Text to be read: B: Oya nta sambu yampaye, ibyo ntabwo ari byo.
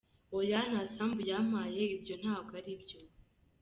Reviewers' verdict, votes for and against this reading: accepted, 3, 0